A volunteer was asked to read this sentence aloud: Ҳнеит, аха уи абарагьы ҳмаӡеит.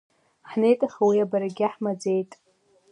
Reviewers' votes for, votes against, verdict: 2, 0, accepted